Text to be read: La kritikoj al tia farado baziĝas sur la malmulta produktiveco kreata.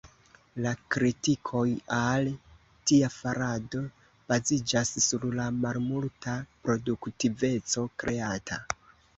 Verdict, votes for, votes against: accepted, 2, 0